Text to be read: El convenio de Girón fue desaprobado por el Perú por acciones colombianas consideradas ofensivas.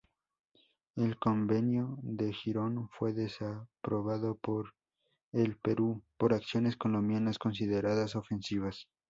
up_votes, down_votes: 2, 0